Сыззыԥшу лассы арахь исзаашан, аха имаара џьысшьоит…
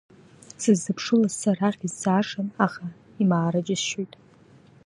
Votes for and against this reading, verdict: 2, 0, accepted